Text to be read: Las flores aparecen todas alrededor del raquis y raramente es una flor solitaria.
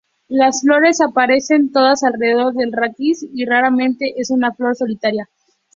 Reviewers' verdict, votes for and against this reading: accepted, 4, 2